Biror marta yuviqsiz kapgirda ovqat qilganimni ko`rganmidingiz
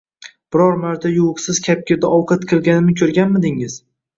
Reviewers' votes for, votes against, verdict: 2, 0, accepted